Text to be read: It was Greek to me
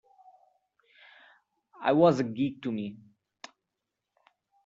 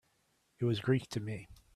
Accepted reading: second